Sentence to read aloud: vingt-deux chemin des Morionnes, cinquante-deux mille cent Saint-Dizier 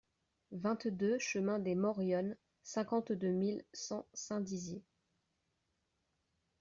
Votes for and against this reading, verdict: 2, 0, accepted